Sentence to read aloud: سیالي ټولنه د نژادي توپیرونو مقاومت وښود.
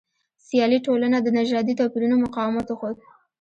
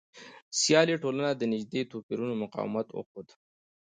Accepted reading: second